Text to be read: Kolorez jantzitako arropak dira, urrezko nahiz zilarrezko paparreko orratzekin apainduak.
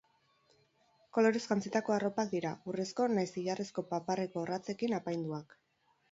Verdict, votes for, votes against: rejected, 2, 2